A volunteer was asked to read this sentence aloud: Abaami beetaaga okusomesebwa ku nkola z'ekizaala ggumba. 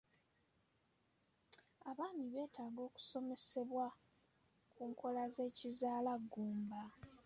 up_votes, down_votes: 3, 1